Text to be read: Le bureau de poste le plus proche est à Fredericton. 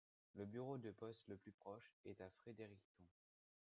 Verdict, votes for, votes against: accepted, 2, 1